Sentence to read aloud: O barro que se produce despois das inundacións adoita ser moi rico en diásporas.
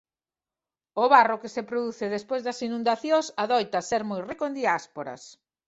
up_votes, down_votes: 2, 0